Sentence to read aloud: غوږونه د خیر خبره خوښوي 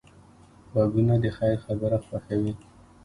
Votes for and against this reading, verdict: 2, 0, accepted